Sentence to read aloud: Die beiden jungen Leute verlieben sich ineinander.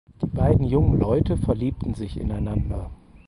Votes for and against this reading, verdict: 2, 4, rejected